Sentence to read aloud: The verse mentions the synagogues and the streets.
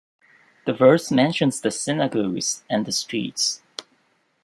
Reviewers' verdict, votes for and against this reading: rejected, 1, 2